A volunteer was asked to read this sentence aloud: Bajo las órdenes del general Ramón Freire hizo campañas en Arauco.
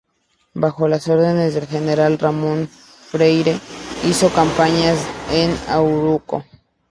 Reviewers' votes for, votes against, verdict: 2, 0, accepted